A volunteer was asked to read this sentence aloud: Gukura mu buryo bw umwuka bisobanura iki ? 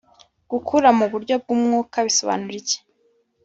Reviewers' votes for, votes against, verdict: 2, 0, accepted